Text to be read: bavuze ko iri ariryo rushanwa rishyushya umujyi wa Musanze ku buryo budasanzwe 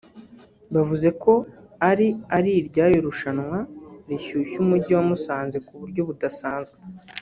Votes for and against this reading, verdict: 0, 2, rejected